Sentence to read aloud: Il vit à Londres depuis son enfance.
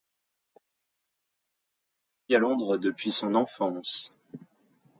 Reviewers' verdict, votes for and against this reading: rejected, 1, 2